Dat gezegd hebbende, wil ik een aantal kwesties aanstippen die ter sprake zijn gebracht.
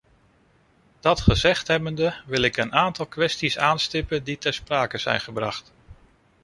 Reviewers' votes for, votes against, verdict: 2, 1, accepted